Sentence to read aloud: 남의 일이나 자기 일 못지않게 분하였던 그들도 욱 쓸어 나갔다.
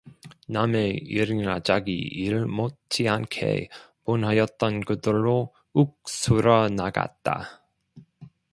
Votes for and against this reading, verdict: 1, 2, rejected